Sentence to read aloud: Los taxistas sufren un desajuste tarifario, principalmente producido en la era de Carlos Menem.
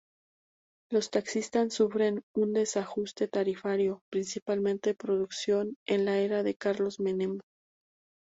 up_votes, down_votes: 0, 2